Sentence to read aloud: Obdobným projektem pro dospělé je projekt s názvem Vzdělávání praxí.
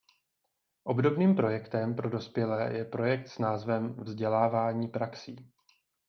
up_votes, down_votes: 2, 0